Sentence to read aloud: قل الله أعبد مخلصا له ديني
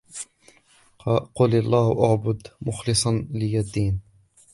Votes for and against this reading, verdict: 1, 2, rejected